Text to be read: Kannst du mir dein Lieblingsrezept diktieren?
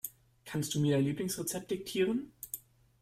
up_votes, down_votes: 0, 2